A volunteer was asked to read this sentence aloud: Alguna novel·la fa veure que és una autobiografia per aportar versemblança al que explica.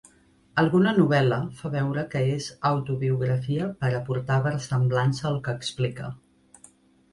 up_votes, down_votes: 1, 2